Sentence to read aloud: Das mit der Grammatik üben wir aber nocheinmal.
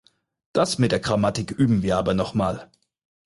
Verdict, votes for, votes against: rejected, 2, 4